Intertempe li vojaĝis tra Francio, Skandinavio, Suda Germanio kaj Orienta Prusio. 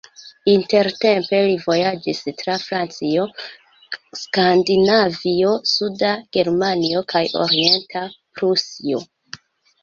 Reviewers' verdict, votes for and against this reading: accepted, 3, 1